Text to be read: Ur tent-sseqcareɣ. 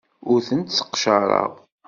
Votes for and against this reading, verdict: 2, 0, accepted